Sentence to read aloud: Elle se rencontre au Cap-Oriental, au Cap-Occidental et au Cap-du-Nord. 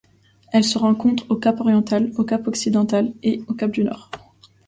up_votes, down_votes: 2, 0